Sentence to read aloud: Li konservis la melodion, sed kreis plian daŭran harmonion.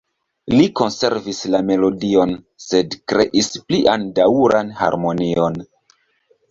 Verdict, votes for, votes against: rejected, 1, 2